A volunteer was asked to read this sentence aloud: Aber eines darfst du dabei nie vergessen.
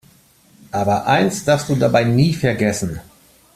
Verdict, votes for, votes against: rejected, 1, 2